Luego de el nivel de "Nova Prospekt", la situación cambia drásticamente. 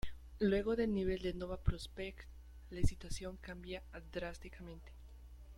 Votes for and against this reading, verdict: 1, 3, rejected